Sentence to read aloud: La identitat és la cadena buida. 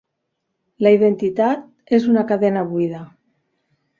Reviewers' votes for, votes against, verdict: 0, 4, rejected